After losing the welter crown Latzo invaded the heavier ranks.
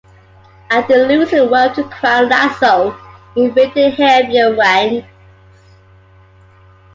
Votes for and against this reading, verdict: 2, 0, accepted